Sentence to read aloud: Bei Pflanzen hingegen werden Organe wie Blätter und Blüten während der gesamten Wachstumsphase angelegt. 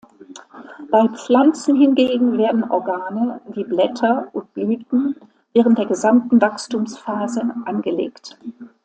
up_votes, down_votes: 2, 1